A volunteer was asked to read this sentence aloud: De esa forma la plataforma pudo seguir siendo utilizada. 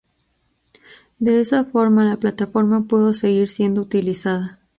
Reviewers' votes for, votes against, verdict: 2, 0, accepted